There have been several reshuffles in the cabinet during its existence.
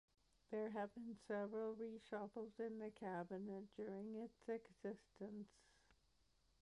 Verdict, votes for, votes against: accepted, 2, 0